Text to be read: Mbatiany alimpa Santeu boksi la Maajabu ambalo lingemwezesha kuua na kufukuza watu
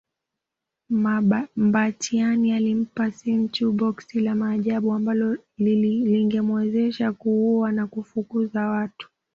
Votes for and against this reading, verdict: 0, 2, rejected